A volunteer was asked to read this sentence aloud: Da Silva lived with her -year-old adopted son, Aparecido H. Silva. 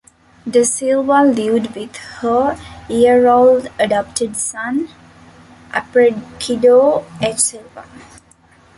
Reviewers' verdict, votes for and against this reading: rejected, 1, 2